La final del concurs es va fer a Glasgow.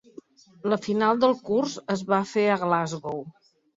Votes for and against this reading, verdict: 0, 2, rejected